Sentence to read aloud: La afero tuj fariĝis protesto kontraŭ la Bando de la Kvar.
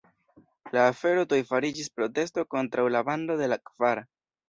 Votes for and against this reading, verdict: 2, 3, rejected